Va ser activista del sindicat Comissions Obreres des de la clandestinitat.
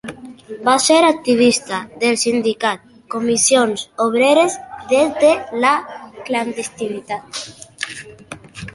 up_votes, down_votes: 2, 0